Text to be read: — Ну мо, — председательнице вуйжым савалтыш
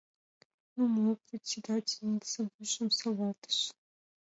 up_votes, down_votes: 2, 0